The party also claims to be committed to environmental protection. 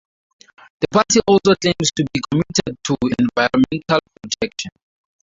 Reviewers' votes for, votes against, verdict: 0, 4, rejected